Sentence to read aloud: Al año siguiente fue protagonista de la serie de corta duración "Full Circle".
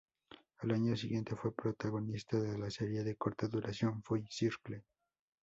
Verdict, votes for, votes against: accepted, 2, 0